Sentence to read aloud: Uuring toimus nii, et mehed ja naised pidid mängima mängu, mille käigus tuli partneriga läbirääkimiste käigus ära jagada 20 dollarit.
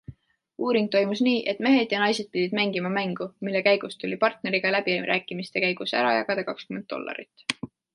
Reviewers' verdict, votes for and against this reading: rejected, 0, 2